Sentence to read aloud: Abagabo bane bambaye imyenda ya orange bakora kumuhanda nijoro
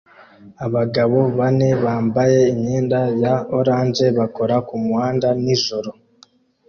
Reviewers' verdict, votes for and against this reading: accepted, 2, 0